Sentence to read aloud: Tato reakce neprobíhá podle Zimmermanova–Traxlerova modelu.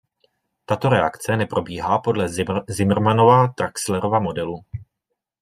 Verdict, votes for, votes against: rejected, 1, 2